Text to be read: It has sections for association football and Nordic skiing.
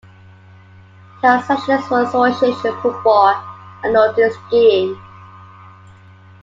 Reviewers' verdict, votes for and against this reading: rejected, 0, 2